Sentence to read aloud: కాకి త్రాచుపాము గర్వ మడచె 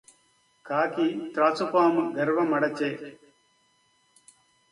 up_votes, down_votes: 2, 0